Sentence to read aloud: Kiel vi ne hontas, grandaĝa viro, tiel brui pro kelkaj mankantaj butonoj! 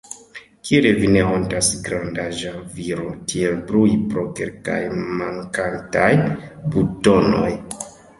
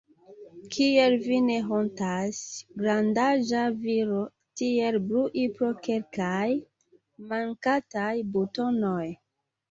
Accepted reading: second